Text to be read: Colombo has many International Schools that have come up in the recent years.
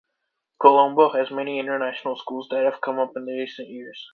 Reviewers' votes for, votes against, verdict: 2, 0, accepted